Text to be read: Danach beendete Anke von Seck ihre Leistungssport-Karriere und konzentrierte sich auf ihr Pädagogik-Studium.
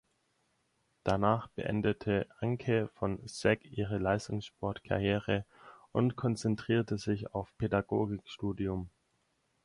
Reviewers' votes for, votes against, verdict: 0, 4, rejected